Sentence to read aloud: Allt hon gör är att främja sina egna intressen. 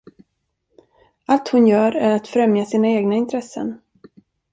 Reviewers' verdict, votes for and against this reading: rejected, 1, 2